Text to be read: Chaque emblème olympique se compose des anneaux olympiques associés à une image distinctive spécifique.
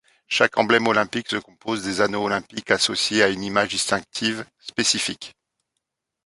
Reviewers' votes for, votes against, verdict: 0, 2, rejected